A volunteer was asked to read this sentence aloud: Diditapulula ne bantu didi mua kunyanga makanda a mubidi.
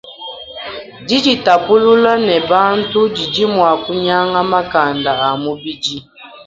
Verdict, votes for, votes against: rejected, 2, 3